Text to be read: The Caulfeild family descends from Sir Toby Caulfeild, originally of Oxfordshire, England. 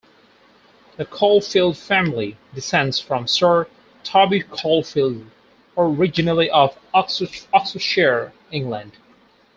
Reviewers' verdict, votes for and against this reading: rejected, 0, 2